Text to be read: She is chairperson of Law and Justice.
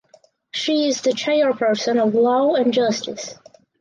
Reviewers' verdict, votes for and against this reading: rejected, 0, 4